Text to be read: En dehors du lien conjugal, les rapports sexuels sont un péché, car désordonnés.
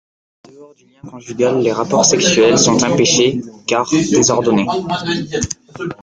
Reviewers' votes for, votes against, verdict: 1, 2, rejected